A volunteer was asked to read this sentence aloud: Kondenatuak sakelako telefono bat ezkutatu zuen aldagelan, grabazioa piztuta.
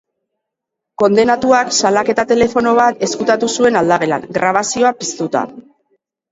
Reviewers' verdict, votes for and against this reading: accepted, 3, 2